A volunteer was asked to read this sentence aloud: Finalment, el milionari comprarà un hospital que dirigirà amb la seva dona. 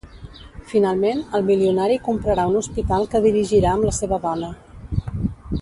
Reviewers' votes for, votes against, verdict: 1, 2, rejected